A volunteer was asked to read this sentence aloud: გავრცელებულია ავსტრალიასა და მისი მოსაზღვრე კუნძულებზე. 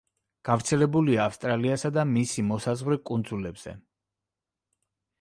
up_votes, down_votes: 2, 0